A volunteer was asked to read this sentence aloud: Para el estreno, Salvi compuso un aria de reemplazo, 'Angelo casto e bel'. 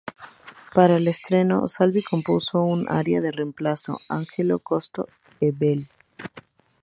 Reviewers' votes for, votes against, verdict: 2, 4, rejected